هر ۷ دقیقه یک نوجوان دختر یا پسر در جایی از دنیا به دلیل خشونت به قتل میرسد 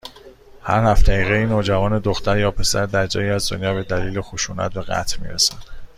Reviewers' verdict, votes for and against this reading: rejected, 0, 2